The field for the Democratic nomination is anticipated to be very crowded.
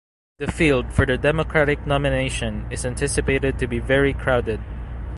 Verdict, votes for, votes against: accepted, 2, 0